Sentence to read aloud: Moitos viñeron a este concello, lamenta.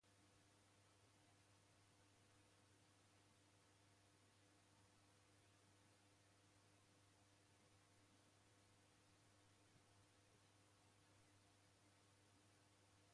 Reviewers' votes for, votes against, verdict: 0, 2, rejected